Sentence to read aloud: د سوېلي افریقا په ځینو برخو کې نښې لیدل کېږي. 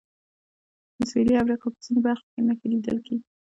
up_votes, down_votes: 1, 2